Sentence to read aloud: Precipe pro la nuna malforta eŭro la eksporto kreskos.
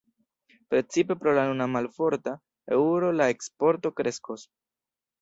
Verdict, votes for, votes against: rejected, 1, 2